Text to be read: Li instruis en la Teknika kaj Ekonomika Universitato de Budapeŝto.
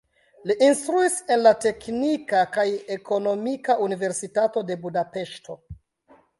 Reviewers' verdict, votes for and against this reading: rejected, 0, 2